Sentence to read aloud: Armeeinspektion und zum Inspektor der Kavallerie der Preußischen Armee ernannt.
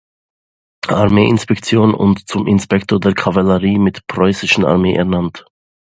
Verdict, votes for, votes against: rejected, 0, 2